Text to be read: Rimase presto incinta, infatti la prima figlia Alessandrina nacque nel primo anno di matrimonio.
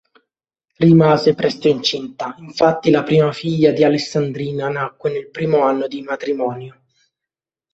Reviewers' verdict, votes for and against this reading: rejected, 1, 2